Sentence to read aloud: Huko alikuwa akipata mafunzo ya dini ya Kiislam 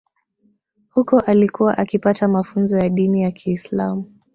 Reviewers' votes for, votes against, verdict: 0, 2, rejected